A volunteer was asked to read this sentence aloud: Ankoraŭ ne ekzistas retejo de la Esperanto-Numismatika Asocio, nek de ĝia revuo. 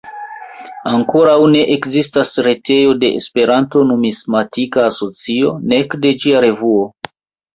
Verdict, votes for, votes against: rejected, 0, 2